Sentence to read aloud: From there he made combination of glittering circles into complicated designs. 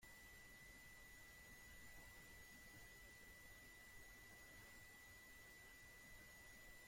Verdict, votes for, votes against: rejected, 0, 2